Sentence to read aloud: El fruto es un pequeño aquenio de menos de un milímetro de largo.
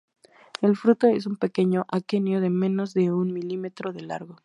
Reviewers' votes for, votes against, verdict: 2, 0, accepted